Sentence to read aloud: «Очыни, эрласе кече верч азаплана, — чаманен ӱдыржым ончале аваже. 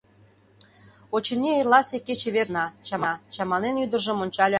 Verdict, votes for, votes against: rejected, 0, 2